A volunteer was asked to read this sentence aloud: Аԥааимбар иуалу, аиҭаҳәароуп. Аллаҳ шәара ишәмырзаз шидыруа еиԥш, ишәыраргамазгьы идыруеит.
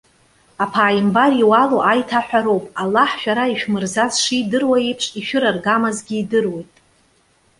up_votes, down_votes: 1, 2